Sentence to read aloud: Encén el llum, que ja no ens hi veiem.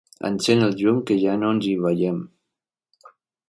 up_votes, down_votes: 3, 0